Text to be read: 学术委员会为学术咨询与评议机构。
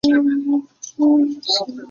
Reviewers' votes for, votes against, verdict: 0, 3, rejected